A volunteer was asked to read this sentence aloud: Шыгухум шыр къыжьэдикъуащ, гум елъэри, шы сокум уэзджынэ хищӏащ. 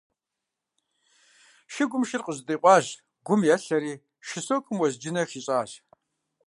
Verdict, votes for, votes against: rejected, 0, 2